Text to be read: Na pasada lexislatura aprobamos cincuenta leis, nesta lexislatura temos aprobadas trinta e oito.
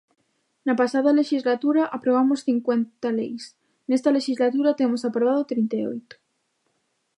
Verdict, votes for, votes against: rejected, 0, 2